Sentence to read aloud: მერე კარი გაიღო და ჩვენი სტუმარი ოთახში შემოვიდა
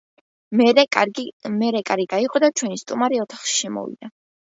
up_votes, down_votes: 1, 2